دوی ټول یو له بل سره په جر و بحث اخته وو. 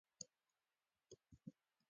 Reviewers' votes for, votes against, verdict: 0, 2, rejected